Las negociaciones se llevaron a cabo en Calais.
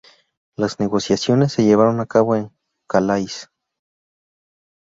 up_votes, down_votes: 2, 0